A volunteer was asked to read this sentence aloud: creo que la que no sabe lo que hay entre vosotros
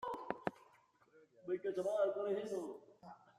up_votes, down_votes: 0, 2